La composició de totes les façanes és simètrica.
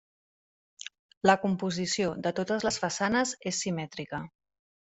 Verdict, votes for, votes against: accepted, 3, 0